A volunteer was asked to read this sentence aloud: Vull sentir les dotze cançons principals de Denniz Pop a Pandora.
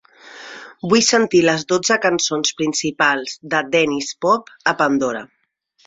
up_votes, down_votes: 2, 0